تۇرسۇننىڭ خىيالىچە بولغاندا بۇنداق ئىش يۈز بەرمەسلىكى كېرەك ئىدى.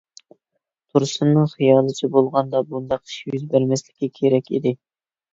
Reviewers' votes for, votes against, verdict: 2, 0, accepted